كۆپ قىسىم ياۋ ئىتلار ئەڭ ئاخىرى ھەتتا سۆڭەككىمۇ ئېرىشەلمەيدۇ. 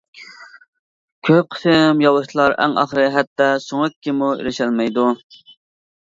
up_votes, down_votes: 2, 1